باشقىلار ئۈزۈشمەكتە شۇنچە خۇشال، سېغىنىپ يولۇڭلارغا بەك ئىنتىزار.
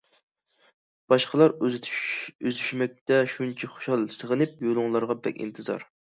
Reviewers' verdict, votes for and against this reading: rejected, 0, 2